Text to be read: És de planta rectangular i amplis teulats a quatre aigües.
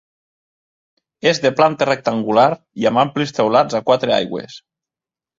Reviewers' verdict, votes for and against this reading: rejected, 1, 2